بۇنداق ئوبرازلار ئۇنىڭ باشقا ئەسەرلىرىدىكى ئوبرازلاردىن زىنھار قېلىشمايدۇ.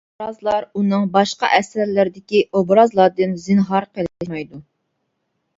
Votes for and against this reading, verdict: 0, 2, rejected